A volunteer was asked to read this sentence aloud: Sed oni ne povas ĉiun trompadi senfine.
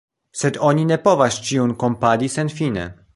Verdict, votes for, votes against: accepted, 2, 1